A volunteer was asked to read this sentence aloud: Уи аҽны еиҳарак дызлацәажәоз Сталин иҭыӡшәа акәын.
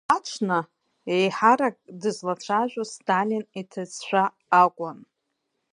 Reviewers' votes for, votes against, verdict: 5, 3, accepted